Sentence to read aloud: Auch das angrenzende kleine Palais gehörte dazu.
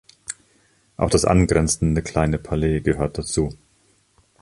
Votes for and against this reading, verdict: 1, 2, rejected